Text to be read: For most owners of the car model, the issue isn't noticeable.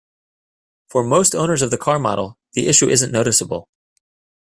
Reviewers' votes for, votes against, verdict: 2, 0, accepted